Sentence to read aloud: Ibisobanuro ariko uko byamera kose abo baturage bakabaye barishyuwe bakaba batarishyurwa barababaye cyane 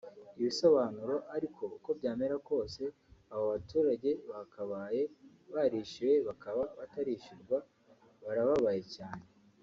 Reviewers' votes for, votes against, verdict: 2, 1, accepted